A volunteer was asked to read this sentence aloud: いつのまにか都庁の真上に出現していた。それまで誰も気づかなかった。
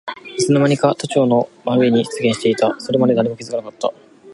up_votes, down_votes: 3, 0